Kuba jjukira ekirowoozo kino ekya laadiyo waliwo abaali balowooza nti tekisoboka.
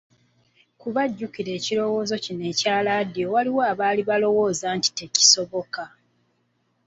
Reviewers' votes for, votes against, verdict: 3, 0, accepted